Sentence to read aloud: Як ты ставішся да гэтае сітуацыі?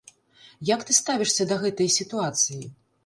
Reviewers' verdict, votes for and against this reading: rejected, 1, 2